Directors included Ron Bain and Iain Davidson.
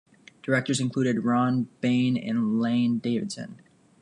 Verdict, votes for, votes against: rejected, 1, 2